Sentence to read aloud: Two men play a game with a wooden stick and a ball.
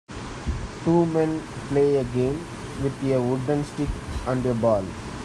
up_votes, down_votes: 1, 2